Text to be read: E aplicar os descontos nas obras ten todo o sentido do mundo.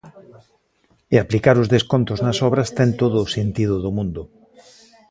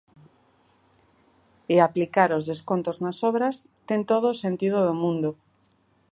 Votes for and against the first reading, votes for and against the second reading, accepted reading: 1, 2, 2, 0, second